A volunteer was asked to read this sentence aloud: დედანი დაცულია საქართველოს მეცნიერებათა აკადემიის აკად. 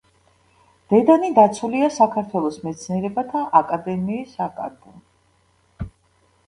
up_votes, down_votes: 2, 0